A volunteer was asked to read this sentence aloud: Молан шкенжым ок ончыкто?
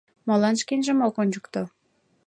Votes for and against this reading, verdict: 2, 0, accepted